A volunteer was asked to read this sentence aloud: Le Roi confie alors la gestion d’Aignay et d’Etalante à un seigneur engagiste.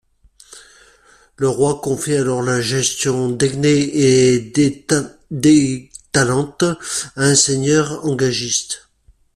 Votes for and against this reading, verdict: 0, 2, rejected